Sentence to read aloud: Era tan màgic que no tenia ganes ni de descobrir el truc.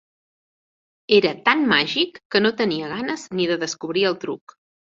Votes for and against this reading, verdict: 3, 0, accepted